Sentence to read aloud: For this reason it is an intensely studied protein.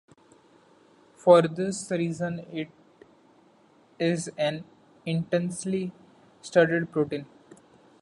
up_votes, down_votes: 2, 0